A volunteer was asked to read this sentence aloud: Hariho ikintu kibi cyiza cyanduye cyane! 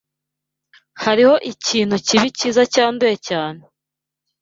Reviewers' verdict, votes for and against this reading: accepted, 2, 0